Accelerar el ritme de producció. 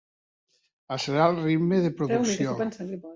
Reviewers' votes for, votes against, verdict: 0, 2, rejected